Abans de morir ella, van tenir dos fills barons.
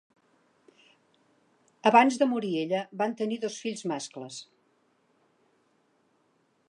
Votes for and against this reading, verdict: 1, 2, rejected